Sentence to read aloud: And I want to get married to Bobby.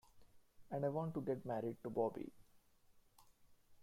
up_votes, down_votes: 2, 0